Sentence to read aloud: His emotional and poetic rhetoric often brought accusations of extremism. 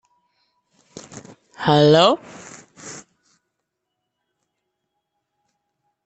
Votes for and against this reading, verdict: 0, 2, rejected